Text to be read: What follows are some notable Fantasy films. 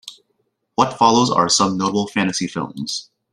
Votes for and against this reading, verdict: 1, 2, rejected